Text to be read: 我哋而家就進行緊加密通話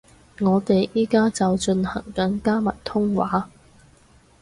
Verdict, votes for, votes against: rejected, 2, 4